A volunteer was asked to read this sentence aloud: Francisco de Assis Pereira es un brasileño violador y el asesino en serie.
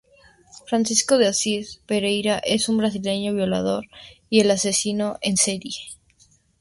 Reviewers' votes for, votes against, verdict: 2, 0, accepted